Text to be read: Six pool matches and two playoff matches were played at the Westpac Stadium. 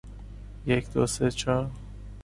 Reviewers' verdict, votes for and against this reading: rejected, 0, 2